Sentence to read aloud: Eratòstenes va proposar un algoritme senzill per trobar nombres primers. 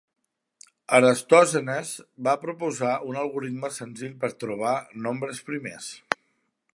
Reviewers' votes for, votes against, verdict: 1, 2, rejected